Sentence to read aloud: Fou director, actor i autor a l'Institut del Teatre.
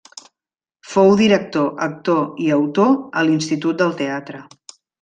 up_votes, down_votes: 0, 2